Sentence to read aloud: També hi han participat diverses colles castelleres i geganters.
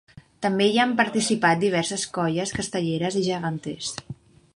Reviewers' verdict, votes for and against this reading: accepted, 3, 0